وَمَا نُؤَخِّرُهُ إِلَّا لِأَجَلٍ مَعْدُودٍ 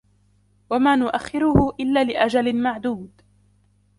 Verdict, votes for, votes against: accepted, 2, 0